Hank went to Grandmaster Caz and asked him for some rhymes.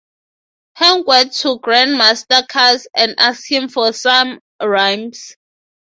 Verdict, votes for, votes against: accepted, 3, 0